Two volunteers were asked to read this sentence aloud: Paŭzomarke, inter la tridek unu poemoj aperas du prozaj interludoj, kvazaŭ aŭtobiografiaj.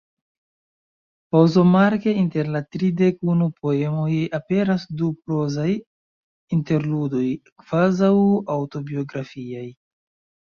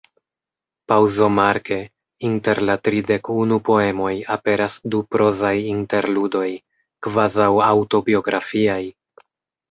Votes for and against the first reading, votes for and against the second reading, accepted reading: 1, 2, 2, 0, second